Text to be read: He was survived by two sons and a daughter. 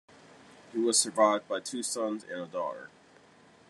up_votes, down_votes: 2, 0